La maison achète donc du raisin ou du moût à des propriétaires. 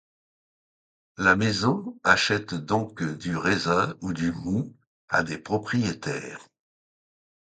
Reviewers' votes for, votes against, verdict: 2, 0, accepted